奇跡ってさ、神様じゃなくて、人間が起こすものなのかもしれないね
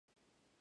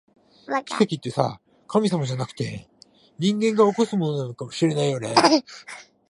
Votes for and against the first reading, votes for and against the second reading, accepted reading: 0, 2, 2, 0, second